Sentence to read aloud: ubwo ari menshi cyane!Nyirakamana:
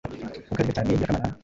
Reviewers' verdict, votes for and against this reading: rejected, 1, 2